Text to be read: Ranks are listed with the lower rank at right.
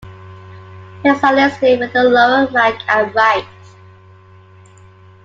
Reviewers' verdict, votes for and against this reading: accepted, 2, 1